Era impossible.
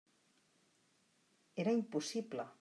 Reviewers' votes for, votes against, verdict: 0, 2, rejected